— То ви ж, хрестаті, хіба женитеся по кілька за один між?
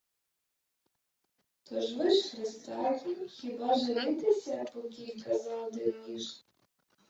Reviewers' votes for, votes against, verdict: 1, 2, rejected